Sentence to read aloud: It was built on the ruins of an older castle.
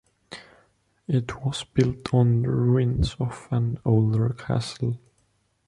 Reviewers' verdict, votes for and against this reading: accepted, 3, 0